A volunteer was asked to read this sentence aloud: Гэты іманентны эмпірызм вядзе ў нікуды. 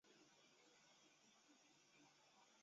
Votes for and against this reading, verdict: 0, 2, rejected